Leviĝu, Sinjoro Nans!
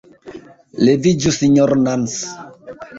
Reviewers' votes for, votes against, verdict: 2, 0, accepted